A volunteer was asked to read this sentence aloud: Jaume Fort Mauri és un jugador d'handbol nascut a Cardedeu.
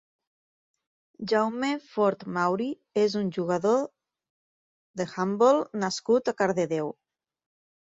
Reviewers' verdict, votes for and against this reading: rejected, 0, 3